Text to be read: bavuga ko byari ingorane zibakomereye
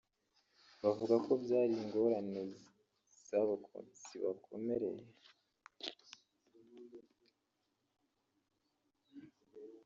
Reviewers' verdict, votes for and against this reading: rejected, 0, 3